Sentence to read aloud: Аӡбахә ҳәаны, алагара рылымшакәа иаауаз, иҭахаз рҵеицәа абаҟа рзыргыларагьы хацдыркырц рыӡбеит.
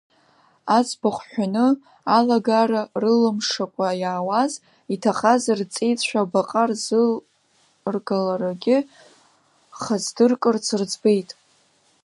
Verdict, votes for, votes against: accepted, 2, 0